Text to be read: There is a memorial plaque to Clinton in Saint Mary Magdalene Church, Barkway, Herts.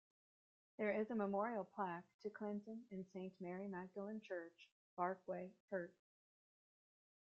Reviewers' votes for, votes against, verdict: 2, 0, accepted